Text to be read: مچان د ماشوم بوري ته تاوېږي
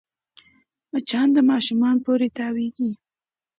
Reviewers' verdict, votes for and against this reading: accepted, 2, 0